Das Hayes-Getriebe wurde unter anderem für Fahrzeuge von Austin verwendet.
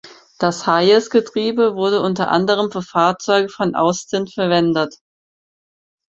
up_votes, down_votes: 4, 0